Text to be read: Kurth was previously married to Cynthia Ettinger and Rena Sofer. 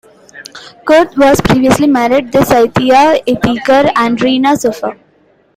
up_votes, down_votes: 2, 1